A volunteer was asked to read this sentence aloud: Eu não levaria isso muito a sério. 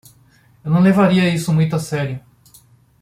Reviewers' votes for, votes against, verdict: 2, 0, accepted